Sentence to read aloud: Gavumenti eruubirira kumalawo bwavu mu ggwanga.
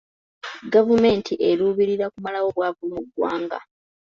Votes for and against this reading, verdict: 2, 0, accepted